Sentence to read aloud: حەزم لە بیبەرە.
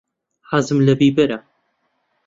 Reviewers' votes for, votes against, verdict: 2, 0, accepted